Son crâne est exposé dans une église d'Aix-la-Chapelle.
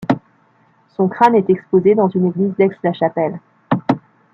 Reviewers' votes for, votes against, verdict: 2, 0, accepted